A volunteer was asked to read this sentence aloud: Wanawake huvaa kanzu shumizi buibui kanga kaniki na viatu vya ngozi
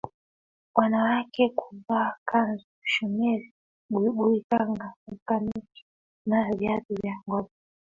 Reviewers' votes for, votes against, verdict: 1, 2, rejected